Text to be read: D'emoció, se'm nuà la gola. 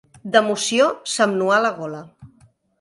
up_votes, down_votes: 2, 0